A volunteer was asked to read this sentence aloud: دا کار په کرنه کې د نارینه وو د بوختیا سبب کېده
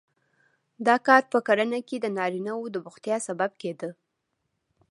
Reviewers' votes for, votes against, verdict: 2, 0, accepted